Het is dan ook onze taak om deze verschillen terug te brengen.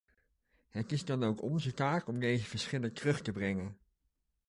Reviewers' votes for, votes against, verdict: 2, 0, accepted